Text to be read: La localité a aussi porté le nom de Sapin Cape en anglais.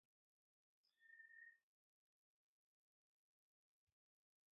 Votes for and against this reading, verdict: 0, 2, rejected